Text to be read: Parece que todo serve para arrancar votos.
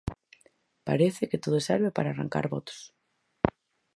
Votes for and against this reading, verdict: 4, 0, accepted